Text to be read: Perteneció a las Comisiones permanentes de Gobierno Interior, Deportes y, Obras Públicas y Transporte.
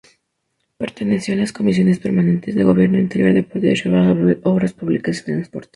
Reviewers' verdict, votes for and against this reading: rejected, 0, 2